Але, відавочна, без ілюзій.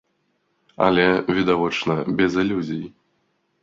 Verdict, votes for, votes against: accepted, 2, 0